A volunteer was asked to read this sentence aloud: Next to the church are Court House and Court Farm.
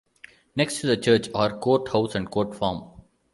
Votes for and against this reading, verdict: 2, 0, accepted